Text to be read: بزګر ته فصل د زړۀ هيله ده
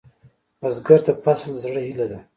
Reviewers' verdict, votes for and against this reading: accepted, 2, 0